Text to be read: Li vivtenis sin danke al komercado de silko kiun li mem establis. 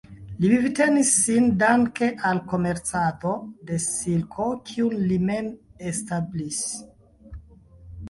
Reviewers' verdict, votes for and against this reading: accepted, 2, 1